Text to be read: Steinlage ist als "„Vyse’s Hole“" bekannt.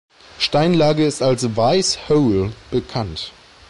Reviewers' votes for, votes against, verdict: 1, 2, rejected